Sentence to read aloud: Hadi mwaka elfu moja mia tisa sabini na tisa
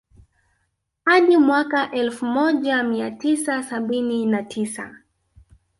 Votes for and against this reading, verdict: 2, 0, accepted